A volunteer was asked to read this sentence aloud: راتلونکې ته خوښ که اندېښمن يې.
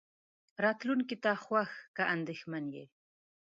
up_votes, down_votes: 2, 0